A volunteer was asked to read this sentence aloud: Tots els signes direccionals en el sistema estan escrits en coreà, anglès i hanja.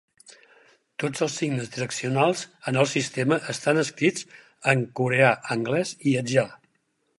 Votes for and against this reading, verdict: 0, 4, rejected